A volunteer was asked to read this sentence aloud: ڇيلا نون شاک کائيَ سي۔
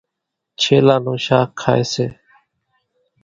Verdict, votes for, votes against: accepted, 2, 0